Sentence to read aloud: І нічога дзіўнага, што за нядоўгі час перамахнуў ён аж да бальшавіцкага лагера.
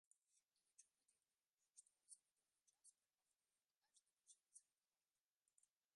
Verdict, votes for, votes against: rejected, 0, 2